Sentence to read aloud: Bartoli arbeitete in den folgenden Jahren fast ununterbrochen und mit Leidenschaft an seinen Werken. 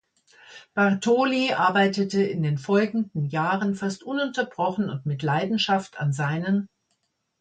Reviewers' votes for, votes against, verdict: 0, 2, rejected